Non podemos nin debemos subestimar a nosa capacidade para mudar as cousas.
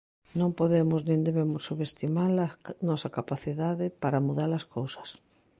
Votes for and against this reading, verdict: 1, 2, rejected